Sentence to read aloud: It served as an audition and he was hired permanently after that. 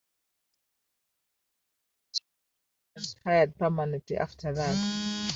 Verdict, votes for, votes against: rejected, 0, 2